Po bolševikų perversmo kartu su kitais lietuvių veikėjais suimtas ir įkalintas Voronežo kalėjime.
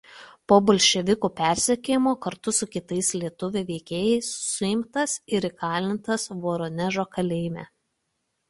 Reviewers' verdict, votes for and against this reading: rejected, 0, 2